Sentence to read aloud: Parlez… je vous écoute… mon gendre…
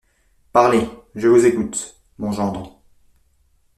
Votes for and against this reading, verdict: 2, 0, accepted